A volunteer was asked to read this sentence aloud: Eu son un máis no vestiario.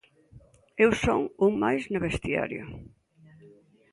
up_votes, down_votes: 2, 0